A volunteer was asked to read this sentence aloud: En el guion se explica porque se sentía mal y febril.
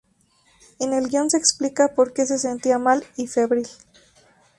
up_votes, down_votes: 2, 0